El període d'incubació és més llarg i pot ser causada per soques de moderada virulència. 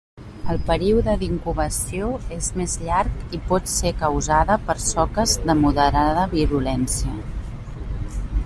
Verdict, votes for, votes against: accepted, 2, 1